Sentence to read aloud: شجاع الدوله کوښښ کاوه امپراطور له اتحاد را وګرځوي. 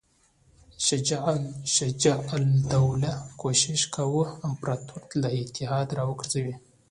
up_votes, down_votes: 2, 0